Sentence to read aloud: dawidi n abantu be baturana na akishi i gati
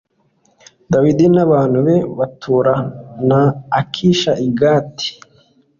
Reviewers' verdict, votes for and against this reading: accepted, 2, 0